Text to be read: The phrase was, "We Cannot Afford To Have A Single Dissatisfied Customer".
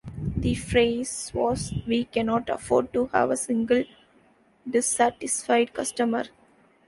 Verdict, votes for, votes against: accepted, 2, 0